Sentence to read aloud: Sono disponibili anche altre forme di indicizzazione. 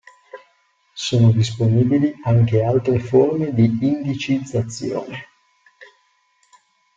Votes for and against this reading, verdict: 2, 0, accepted